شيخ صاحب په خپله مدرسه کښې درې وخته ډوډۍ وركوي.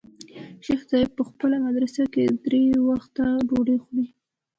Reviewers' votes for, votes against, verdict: 2, 0, accepted